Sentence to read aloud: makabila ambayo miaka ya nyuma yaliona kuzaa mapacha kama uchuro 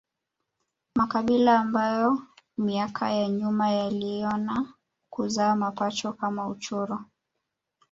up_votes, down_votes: 4, 2